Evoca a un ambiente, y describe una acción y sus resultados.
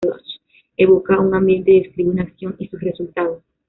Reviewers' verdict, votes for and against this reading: accepted, 2, 0